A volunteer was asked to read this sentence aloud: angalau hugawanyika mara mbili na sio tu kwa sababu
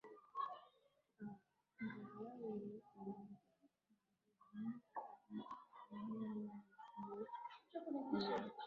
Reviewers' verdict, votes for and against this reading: rejected, 0, 5